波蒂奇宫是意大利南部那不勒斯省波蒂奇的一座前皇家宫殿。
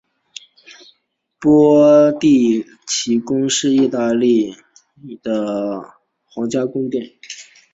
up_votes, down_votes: 2, 1